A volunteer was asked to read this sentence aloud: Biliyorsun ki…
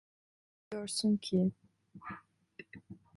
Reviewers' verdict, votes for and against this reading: rejected, 0, 2